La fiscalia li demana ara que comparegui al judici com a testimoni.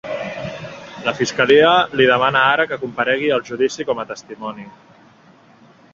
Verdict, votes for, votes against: rejected, 0, 2